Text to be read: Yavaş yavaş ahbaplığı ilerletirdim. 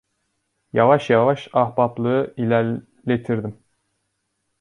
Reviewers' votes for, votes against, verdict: 1, 2, rejected